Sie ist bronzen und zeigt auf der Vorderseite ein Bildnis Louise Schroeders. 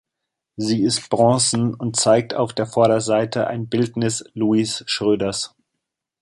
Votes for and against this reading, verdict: 0, 2, rejected